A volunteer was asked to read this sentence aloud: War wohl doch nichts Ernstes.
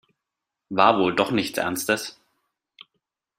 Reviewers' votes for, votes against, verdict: 2, 0, accepted